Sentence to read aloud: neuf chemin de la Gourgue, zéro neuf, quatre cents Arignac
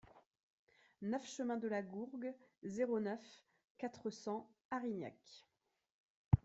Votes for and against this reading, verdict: 2, 0, accepted